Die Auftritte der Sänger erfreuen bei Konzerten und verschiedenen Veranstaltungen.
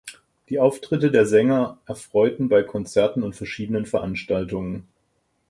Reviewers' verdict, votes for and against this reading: rejected, 0, 4